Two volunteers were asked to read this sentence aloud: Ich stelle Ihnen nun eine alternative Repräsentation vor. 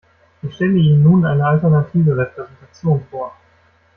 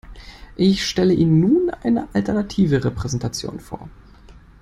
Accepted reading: second